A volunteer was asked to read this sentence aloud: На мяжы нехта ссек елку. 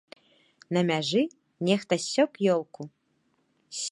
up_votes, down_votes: 0, 2